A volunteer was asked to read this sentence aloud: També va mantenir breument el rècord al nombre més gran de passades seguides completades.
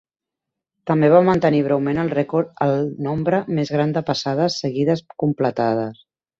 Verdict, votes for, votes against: accepted, 2, 0